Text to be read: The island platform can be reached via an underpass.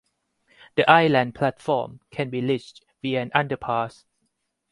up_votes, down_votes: 2, 4